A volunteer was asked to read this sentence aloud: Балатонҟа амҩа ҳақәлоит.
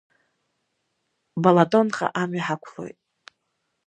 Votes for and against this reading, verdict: 2, 0, accepted